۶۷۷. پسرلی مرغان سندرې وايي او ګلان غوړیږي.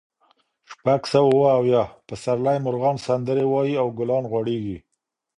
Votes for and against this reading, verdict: 0, 2, rejected